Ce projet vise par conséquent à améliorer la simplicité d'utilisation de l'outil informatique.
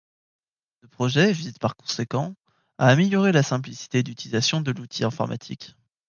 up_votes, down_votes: 1, 2